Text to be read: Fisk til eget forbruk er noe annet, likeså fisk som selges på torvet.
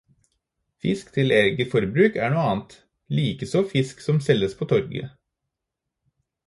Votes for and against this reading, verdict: 2, 0, accepted